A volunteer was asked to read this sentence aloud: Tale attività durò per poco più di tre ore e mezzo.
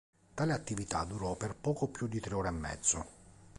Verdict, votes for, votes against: accepted, 2, 0